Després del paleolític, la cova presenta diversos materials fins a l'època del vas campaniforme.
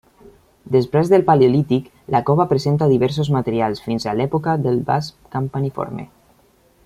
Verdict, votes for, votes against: rejected, 1, 2